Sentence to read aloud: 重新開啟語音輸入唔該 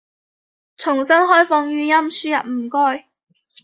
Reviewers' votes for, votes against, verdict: 0, 2, rejected